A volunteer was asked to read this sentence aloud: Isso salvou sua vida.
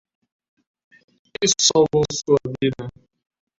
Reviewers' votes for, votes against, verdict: 0, 2, rejected